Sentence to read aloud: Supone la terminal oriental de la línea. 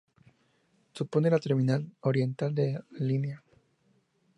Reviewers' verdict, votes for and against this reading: rejected, 2, 2